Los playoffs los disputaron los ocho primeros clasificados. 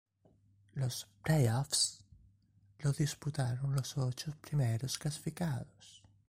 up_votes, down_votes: 1, 2